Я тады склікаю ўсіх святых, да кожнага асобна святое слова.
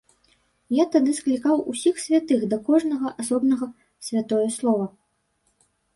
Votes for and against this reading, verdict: 1, 2, rejected